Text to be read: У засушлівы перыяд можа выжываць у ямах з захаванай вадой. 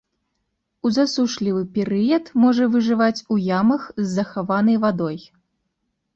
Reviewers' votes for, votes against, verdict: 3, 0, accepted